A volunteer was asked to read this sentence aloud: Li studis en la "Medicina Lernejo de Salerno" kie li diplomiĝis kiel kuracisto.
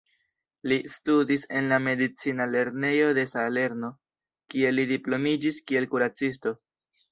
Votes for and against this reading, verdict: 0, 2, rejected